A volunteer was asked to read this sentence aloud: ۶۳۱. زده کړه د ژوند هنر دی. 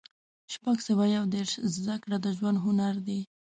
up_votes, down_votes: 0, 2